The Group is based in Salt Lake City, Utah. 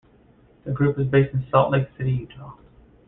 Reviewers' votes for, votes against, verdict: 2, 1, accepted